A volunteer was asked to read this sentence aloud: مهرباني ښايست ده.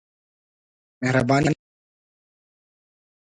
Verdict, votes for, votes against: rejected, 0, 2